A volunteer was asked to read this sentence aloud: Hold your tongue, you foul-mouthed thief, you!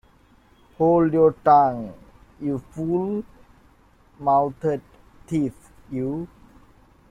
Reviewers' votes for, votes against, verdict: 0, 2, rejected